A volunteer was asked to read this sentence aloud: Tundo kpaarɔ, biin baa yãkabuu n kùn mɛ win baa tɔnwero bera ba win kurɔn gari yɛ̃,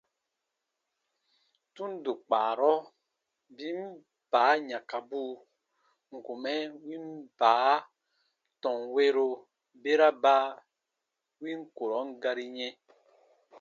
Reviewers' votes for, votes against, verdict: 2, 0, accepted